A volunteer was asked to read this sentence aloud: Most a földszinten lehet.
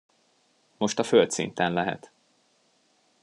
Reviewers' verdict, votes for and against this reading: accepted, 2, 0